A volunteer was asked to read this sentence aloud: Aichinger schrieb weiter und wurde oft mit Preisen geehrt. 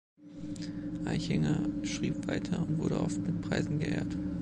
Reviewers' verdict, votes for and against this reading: accepted, 2, 0